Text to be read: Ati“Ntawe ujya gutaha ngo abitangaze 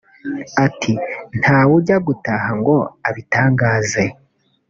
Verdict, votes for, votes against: accepted, 2, 0